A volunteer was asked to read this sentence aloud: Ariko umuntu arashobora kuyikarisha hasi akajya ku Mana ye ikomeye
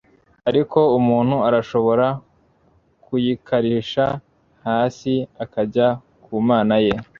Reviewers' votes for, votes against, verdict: 0, 2, rejected